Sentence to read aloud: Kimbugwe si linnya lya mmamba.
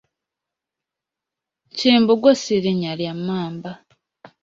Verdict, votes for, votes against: accepted, 2, 0